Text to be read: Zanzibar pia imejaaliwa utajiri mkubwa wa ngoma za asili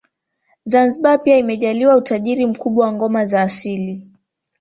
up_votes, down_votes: 0, 2